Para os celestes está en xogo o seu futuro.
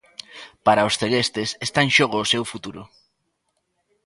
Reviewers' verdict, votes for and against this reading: accepted, 2, 0